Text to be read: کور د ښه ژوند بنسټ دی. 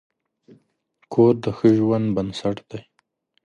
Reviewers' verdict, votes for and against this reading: accepted, 2, 0